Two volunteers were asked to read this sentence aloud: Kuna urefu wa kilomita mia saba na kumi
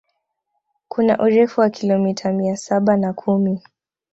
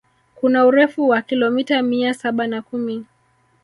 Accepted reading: first